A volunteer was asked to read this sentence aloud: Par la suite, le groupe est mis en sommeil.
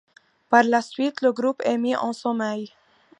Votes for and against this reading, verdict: 2, 0, accepted